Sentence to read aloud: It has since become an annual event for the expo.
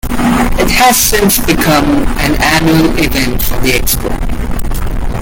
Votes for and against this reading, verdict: 2, 0, accepted